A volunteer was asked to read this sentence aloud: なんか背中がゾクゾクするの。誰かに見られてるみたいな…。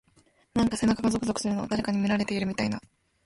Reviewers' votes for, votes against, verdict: 2, 0, accepted